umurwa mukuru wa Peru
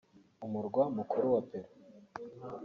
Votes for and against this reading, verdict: 2, 0, accepted